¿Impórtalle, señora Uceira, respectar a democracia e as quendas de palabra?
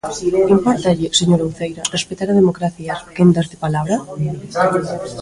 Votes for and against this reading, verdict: 0, 2, rejected